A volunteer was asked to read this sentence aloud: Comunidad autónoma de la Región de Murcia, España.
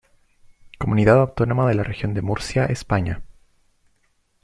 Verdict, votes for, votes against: accepted, 2, 0